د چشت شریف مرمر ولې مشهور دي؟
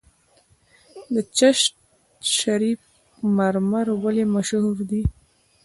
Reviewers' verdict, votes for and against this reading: accepted, 2, 0